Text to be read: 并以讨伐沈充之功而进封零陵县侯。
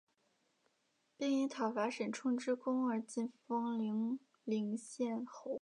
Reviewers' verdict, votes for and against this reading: accepted, 3, 2